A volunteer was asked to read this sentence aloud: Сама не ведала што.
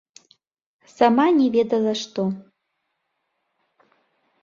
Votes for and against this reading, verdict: 2, 0, accepted